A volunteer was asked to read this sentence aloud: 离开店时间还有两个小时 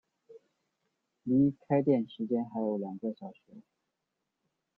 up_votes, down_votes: 2, 0